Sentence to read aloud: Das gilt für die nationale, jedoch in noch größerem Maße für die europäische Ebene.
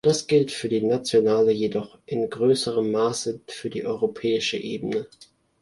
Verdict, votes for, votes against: rejected, 1, 2